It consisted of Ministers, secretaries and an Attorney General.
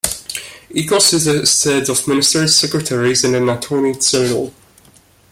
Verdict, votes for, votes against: rejected, 1, 2